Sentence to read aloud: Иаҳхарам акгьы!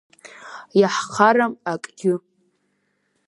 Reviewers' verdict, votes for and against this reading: accepted, 5, 0